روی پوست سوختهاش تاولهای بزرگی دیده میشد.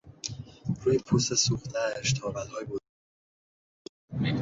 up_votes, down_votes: 0, 2